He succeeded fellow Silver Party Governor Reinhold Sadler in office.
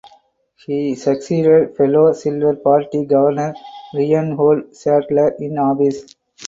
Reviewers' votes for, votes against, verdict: 2, 4, rejected